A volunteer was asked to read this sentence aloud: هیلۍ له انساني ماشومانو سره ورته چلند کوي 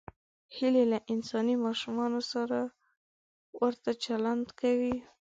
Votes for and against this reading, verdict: 2, 0, accepted